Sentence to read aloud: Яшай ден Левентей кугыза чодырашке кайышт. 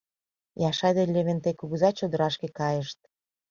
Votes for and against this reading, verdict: 2, 0, accepted